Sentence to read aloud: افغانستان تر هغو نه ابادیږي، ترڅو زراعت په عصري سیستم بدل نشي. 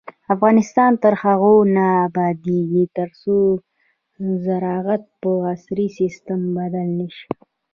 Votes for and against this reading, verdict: 1, 2, rejected